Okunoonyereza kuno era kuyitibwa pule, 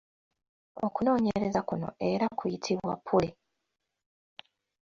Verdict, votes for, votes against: accepted, 2, 1